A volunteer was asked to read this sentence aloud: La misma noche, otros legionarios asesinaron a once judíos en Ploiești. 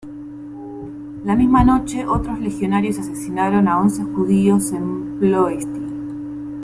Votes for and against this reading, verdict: 1, 2, rejected